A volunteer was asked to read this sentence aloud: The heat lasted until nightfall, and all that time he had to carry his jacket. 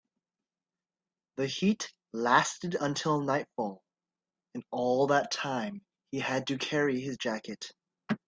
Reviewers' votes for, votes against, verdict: 2, 0, accepted